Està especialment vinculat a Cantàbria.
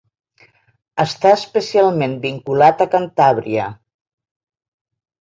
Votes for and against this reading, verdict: 2, 0, accepted